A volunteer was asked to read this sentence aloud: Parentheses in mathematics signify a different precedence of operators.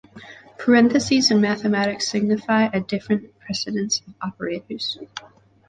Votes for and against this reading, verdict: 2, 0, accepted